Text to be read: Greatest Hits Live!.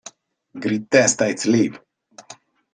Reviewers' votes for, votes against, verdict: 0, 2, rejected